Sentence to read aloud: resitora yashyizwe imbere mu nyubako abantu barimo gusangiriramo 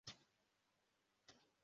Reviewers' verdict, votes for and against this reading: rejected, 0, 2